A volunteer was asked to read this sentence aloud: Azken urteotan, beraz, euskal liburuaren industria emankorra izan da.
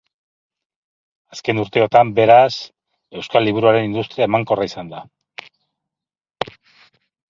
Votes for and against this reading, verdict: 4, 0, accepted